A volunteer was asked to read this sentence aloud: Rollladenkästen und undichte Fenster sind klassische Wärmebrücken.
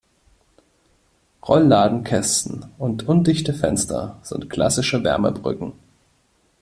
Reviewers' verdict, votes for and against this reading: accepted, 2, 0